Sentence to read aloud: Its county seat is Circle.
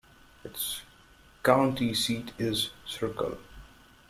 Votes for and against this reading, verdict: 1, 2, rejected